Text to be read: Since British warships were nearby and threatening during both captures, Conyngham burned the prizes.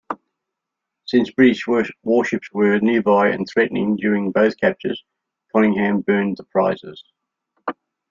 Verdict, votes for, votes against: rejected, 1, 2